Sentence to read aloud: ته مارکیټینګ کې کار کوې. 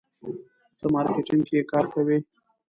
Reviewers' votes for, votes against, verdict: 1, 2, rejected